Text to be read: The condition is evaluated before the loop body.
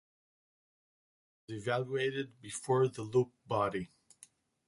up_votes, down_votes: 0, 2